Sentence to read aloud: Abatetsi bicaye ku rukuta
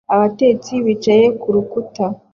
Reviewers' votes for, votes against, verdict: 2, 0, accepted